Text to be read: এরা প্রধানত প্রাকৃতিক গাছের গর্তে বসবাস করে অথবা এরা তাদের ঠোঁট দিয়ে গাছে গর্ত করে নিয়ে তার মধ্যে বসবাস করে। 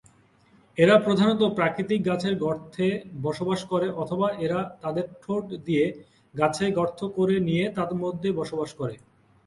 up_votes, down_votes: 2, 0